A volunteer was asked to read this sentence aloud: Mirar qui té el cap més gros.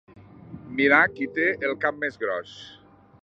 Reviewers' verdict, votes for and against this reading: accepted, 2, 1